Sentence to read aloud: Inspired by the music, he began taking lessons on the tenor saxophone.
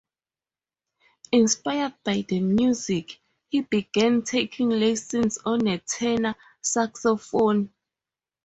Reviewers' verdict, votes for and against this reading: rejected, 2, 2